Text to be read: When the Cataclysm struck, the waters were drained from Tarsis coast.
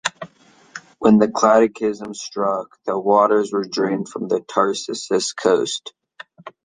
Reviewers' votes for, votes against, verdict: 1, 2, rejected